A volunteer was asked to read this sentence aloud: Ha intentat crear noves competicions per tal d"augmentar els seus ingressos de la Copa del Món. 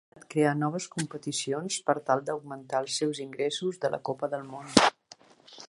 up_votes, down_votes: 0, 2